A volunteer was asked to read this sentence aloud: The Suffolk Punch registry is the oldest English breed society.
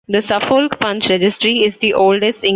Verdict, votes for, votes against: rejected, 0, 2